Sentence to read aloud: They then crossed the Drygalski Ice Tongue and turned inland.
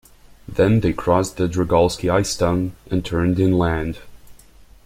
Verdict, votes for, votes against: rejected, 1, 2